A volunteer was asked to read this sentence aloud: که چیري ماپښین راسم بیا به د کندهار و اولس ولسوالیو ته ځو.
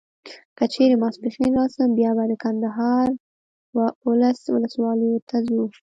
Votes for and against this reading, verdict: 3, 0, accepted